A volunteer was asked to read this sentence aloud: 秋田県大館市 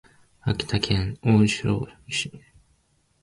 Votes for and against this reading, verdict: 2, 5, rejected